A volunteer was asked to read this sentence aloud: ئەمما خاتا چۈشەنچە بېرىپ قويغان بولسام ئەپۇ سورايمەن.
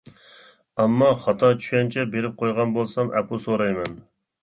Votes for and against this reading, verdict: 2, 0, accepted